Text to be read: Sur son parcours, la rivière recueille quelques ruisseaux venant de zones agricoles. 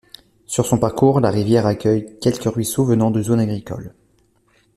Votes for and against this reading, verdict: 1, 2, rejected